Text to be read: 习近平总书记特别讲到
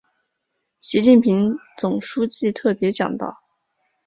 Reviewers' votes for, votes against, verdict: 5, 0, accepted